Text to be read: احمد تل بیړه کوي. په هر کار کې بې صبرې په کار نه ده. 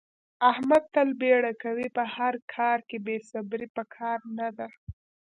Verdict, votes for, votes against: accepted, 2, 0